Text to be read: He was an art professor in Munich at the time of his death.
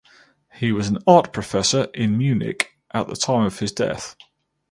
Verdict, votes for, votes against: accepted, 4, 0